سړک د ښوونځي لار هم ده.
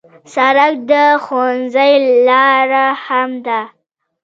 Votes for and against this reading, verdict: 1, 2, rejected